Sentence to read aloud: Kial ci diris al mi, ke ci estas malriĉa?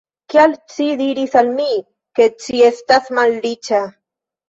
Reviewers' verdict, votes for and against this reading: rejected, 1, 2